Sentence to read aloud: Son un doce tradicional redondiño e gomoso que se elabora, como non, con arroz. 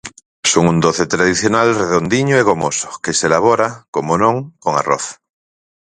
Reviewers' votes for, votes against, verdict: 4, 0, accepted